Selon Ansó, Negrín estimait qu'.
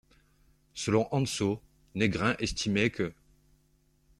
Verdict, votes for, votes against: rejected, 1, 2